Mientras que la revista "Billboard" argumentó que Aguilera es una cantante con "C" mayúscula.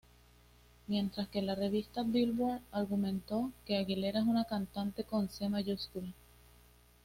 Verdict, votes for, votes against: rejected, 1, 2